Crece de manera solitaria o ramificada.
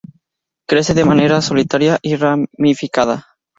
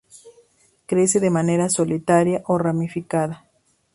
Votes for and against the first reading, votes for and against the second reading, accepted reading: 0, 2, 2, 0, second